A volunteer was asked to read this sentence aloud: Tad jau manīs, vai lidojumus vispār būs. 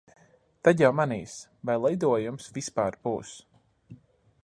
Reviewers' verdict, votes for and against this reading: accepted, 2, 0